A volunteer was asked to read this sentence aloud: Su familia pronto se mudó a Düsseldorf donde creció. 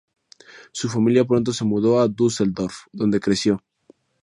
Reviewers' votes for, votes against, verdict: 2, 0, accepted